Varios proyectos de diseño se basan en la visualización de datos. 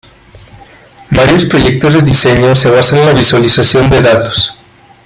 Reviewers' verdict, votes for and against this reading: accepted, 2, 1